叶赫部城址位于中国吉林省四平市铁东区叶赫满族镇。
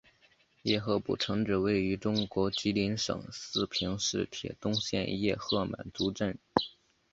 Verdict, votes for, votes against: rejected, 1, 2